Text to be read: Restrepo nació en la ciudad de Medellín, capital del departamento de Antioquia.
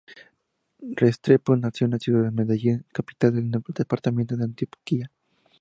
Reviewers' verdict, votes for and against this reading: rejected, 0, 2